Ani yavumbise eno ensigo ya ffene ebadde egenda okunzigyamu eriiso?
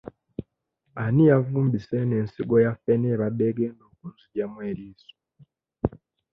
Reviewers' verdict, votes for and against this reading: accepted, 2, 0